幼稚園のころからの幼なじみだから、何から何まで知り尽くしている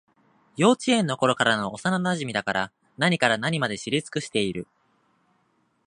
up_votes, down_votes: 2, 0